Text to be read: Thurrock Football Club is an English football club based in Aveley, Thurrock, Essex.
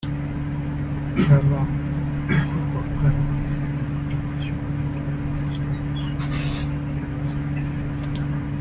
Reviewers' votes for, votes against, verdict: 0, 2, rejected